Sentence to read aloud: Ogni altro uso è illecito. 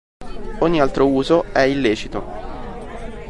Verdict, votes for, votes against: accepted, 2, 0